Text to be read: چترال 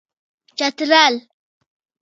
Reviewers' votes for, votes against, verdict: 0, 2, rejected